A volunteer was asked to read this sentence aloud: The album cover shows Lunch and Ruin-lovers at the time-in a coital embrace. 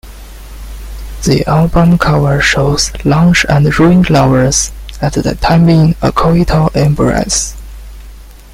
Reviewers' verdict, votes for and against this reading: rejected, 1, 2